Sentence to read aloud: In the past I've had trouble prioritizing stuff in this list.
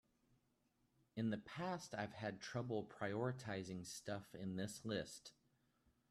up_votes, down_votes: 2, 0